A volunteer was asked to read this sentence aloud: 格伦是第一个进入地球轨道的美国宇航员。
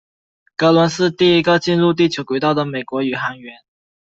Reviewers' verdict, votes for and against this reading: accepted, 2, 0